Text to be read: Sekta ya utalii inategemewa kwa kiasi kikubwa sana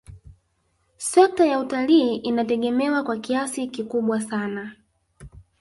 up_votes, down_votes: 0, 2